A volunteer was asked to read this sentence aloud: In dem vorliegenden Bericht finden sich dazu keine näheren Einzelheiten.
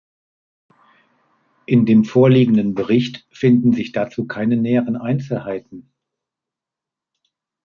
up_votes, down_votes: 2, 0